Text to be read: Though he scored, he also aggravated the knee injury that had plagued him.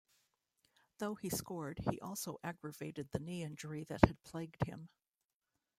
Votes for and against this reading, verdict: 2, 0, accepted